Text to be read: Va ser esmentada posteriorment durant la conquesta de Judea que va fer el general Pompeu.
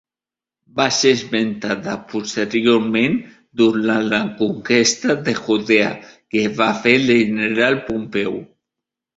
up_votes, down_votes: 0, 2